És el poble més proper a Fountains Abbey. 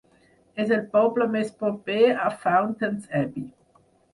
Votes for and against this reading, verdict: 4, 0, accepted